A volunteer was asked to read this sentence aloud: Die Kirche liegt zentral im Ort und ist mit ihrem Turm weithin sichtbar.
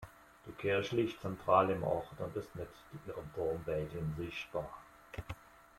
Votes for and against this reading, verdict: 2, 1, accepted